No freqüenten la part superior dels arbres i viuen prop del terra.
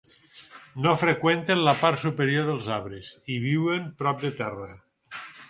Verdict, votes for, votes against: rejected, 0, 6